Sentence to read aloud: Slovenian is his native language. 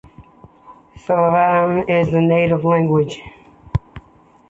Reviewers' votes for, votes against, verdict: 1, 2, rejected